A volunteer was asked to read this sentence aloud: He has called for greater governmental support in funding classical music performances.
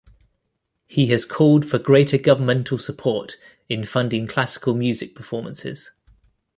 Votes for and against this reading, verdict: 2, 0, accepted